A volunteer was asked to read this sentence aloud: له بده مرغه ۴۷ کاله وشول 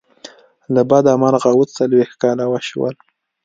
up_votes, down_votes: 0, 2